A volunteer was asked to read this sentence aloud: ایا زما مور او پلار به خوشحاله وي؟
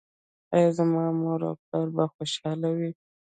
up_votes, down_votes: 2, 0